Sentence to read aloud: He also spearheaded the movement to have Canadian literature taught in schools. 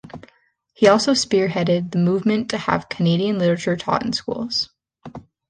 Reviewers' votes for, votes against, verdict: 2, 0, accepted